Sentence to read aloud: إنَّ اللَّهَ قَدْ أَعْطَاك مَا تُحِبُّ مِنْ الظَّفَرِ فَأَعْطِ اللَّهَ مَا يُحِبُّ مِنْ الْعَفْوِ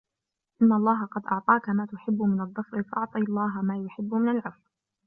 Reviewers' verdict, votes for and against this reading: accepted, 2, 0